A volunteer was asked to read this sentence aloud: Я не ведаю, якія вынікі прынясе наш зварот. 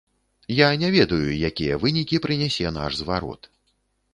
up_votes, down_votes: 2, 0